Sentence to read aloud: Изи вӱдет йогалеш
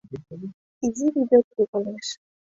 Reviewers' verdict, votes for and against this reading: rejected, 1, 2